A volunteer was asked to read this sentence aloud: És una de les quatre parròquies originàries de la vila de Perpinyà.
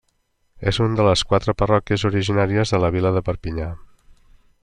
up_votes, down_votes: 0, 2